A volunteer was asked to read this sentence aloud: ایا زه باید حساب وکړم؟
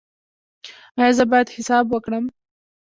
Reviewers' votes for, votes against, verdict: 2, 0, accepted